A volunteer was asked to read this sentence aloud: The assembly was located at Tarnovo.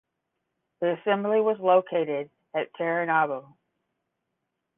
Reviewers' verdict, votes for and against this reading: rejected, 0, 10